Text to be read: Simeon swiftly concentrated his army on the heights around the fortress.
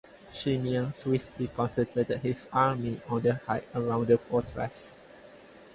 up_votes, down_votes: 2, 2